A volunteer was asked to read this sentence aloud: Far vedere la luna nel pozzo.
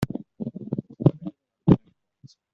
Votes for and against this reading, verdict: 0, 2, rejected